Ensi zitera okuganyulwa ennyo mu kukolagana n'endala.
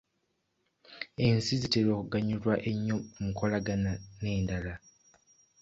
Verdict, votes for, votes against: accepted, 2, 0